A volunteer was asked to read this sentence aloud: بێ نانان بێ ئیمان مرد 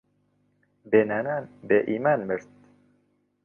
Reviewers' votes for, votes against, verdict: 2, 0, accepted